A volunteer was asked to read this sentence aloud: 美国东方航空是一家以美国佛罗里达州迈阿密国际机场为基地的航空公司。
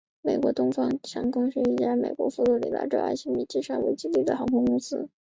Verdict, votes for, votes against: rejected, 1, 2